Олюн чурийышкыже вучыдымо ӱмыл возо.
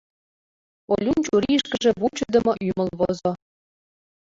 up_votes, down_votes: 0, 2